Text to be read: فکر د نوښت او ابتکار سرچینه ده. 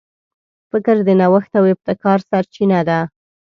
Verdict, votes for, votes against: accepted, 2, 0